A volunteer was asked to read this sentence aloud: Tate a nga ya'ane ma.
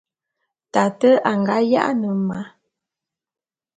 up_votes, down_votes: 2, 0